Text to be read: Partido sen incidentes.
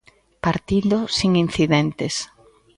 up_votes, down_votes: 2, 0